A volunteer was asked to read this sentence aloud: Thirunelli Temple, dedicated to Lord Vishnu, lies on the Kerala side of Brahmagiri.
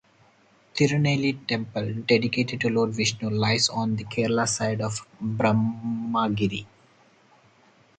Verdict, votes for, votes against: rejected, 2, 2